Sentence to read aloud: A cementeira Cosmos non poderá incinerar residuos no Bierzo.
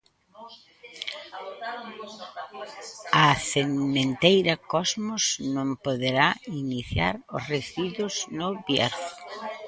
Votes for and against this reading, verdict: 0, 2, rejected